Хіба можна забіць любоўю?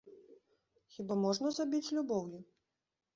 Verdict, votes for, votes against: rejected, 1, 2